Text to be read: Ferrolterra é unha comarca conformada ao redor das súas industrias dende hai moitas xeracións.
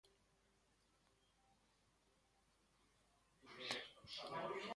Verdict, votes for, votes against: rejected, 0, 2